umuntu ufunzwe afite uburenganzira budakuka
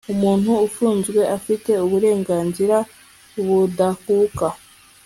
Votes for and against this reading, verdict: 2, 0, accepted